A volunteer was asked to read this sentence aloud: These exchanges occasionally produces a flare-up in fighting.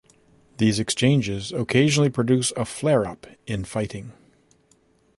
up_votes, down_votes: 0, 2